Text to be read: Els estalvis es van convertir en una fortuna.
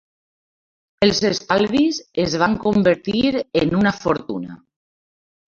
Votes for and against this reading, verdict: 2, 0, accepted